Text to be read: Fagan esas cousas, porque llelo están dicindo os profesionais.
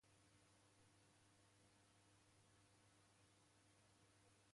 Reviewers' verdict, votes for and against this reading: rejected, 0, 2